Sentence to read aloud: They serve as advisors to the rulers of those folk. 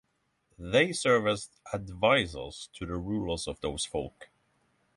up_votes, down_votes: 6, 0